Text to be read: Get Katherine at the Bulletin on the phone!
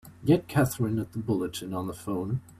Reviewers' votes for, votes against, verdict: 2, 0, accepted